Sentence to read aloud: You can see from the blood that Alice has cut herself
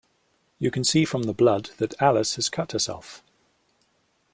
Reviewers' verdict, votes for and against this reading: accepted, 2, 0